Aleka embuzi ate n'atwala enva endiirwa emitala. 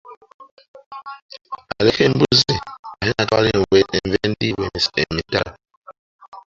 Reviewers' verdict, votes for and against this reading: rejected, 0, 2